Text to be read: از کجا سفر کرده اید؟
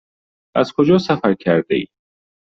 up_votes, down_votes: 2, 0